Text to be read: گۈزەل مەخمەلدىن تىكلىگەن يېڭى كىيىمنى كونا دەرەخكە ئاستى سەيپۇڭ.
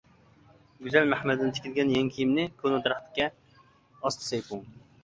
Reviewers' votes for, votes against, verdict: 1, 2, rejected